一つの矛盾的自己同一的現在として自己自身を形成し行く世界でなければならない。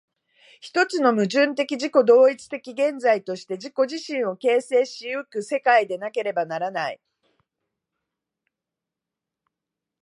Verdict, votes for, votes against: accepted, 2, 0